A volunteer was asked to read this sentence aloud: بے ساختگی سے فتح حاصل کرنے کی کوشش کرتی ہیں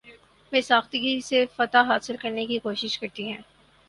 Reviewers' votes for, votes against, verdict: 4, 0, accepted